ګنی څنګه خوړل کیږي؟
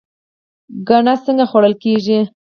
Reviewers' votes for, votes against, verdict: 4, 2, accepted